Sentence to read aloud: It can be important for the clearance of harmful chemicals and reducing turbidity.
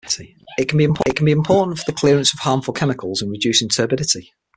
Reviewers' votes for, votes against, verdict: 0, 6, rejected